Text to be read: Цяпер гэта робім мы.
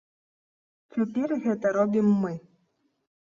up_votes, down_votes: 2, 0